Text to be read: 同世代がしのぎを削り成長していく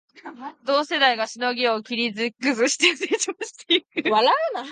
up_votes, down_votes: 2, 3